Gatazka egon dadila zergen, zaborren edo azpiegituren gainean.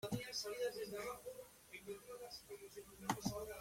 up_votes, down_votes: 0, 2